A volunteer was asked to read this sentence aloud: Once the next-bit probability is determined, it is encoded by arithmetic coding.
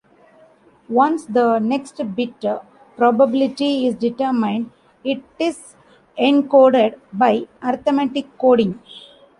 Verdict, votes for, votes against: rejected, 0, 3